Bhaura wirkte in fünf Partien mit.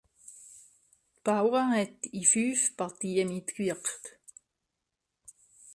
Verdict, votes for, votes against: rejected, 0, 3